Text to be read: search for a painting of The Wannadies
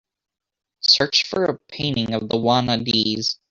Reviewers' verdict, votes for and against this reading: accepted, 2, 0